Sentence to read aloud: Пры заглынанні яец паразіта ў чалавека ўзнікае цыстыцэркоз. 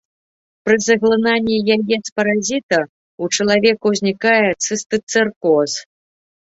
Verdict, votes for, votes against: accepted, 2, 1